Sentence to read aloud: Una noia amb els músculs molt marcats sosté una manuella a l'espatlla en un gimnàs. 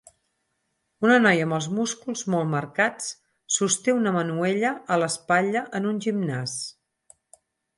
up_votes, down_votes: 4, 0